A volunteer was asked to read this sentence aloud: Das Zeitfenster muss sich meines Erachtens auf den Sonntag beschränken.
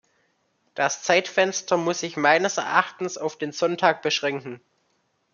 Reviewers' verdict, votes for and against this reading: accepted, 2, 0